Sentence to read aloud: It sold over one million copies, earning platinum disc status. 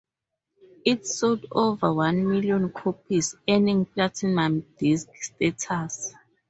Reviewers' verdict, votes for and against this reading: rejected, 2, 2